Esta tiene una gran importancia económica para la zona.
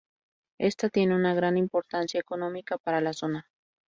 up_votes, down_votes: 0, 2